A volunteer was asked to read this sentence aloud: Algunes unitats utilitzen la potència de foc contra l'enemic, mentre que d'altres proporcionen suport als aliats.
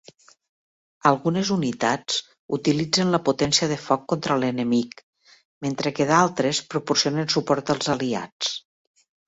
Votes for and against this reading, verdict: 3, 0, accepted